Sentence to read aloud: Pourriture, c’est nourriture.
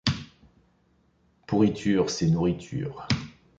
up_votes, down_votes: 2, 0